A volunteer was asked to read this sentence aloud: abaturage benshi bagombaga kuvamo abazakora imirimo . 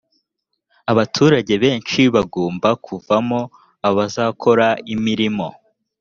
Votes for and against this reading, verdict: 1, 2, rejected